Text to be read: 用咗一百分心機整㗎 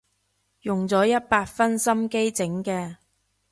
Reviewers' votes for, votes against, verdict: 0, 2, rejected